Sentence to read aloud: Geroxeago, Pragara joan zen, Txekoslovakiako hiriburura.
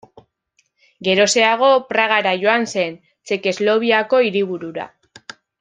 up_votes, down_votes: 0, 2